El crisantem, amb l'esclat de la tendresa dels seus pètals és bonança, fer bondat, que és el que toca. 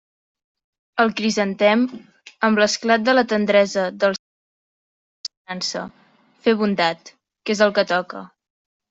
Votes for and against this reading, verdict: 0, 2, rejected